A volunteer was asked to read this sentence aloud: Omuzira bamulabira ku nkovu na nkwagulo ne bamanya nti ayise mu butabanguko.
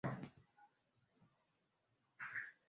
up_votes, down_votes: 0, 2